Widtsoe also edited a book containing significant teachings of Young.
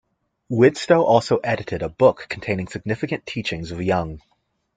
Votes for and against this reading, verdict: 2, 0, accepted